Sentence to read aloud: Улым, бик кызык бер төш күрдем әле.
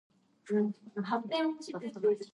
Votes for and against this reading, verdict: 0, 2, rejected